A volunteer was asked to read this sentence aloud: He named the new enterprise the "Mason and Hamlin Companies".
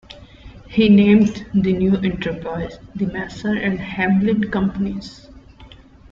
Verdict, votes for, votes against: accepted, 2, 1